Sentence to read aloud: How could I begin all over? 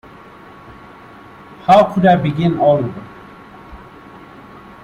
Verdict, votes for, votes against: rejected, 1, 2